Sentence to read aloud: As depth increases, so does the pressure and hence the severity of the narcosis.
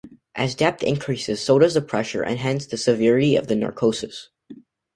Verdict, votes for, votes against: accepted, 2, 0